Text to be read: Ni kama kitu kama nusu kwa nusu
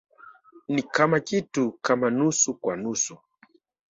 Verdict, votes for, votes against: rejected, 0, 2